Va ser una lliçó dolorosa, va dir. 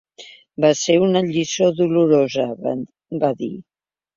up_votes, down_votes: 0, 2